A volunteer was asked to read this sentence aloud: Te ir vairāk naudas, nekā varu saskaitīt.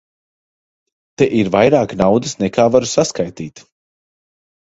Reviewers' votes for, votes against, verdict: 2, 1, accepted